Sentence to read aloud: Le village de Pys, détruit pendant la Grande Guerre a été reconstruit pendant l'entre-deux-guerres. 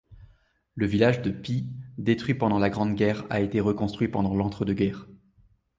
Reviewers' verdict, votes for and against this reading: accepted, 2, 1